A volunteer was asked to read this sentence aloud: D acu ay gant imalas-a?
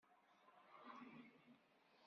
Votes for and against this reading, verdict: 1, 2, rejected